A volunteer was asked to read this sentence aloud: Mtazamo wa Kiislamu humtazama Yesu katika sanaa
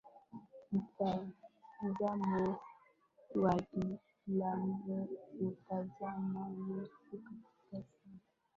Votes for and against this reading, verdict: 1, 3, rejected